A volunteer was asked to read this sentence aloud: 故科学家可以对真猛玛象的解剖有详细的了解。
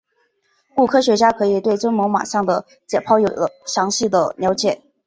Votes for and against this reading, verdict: 3, 2, accepted